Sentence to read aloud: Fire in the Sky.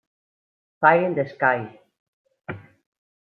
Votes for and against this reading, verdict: 1, 2, rejected